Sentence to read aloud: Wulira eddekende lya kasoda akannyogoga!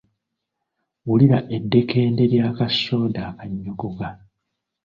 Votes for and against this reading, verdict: 2, 0, accepted